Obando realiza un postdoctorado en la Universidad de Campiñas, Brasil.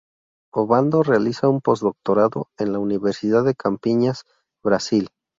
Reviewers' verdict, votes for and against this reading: accepted, 6, 0